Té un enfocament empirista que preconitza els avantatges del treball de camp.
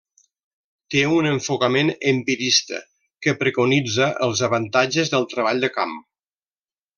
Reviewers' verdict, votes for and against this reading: accepted, 2, 0